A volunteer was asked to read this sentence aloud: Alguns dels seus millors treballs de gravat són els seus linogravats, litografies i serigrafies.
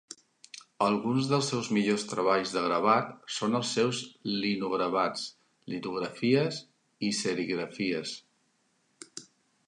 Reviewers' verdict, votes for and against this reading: accepted, 3, 0